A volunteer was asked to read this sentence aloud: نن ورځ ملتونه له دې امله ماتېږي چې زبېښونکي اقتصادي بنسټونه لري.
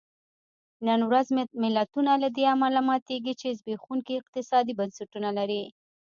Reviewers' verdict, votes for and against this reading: rejected, 1, 2